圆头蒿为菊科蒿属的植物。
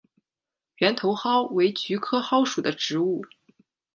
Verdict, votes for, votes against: accepted, 2, 0